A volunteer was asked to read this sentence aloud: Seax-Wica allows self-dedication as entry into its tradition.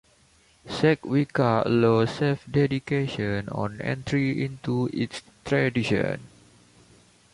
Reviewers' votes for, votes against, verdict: 1, 2, rejected